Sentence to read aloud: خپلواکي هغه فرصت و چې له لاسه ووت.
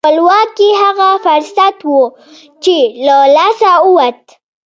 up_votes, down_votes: 1, 2